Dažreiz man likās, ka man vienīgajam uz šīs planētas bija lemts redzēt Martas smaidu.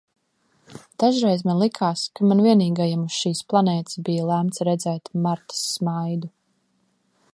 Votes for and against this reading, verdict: 2, 0, accepted